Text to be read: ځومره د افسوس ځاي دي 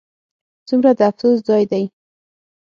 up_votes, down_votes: 6, 0